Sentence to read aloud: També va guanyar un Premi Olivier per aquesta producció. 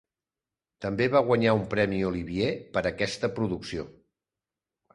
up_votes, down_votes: 2, 0